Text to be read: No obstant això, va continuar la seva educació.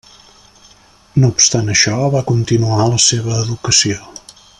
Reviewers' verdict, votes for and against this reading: accepted, 3, 0